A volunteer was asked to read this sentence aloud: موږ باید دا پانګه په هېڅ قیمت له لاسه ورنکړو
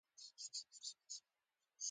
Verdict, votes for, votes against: rejected, 0, 2